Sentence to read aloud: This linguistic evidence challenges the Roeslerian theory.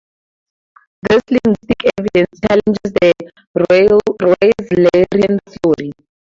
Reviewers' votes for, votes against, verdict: 0, 2, rejected